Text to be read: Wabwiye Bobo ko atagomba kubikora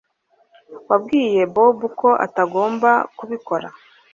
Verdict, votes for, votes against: accepted, 2, 0